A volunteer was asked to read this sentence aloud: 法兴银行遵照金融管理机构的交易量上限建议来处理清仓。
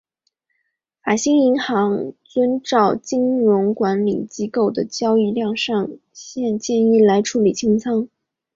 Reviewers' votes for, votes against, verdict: 3, 0, accepted